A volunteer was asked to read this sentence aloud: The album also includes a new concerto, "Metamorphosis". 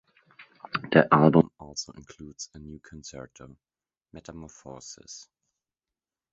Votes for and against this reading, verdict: 1, 2, rejected